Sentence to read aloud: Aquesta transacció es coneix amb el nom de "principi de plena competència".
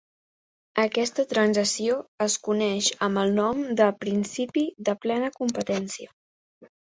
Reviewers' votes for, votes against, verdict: 2, 0, accepted